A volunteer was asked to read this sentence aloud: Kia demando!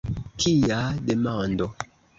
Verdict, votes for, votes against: rejected, 0, 2